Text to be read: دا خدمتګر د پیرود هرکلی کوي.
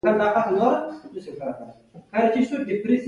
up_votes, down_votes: 2, 0